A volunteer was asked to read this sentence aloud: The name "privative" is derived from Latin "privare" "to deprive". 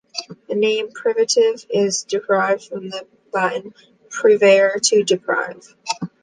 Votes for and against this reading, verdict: 2, 1, accepted